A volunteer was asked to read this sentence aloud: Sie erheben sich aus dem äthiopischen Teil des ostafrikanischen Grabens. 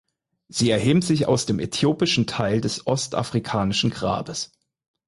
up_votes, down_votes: 0, 4